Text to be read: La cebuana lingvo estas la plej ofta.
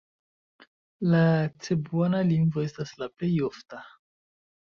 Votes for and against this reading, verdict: 2, 0, accepted